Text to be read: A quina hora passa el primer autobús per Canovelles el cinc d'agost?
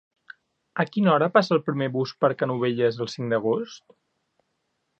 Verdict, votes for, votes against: rejected, 1, 2